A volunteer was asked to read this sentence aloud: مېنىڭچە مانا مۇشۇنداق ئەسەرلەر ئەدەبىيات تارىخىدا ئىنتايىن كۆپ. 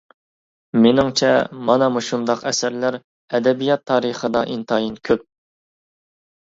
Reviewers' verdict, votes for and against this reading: accepted, 2, 0